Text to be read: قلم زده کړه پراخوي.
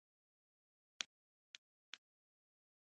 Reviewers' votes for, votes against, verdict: 1, 2, rejected